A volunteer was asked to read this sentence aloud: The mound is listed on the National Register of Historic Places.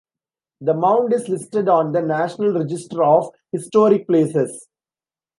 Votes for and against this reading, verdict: 1, 2, rejected